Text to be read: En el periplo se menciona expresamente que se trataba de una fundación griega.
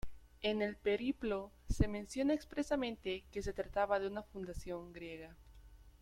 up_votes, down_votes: 2, 0